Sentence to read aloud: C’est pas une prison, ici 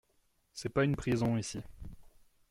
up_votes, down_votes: 2, 0